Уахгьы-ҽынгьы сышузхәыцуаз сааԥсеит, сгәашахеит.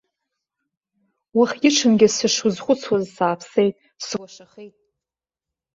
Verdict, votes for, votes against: rejected, 0, 2